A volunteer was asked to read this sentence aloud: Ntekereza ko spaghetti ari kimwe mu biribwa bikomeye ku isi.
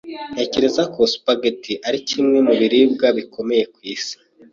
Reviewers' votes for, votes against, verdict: 2, 0, accepted